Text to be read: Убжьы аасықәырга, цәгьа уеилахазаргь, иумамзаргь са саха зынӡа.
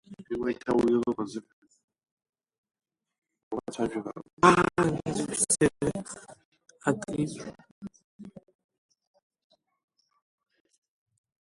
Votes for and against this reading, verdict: 0, 2, rejected